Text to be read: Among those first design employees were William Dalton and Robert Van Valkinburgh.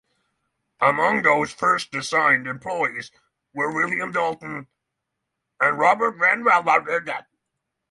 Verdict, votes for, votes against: rejected, 0, 6